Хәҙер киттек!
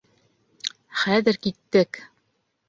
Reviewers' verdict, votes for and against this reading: accepted, 2, 1